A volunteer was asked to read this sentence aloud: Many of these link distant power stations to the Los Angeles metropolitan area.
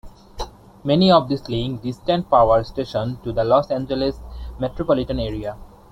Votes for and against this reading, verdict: 2, 0, accepted